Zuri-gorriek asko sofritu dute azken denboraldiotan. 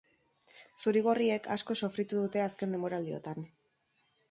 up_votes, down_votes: 2, 0